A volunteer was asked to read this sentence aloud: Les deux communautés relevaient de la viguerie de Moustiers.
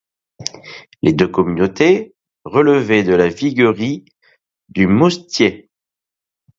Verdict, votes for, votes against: rejected, 1, 2